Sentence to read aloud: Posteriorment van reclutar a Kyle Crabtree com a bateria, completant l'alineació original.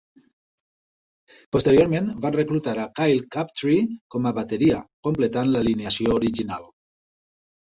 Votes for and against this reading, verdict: 1, 2, rejected